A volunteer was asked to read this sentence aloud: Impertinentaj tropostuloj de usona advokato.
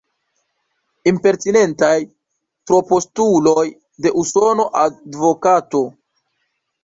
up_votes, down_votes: 0, 2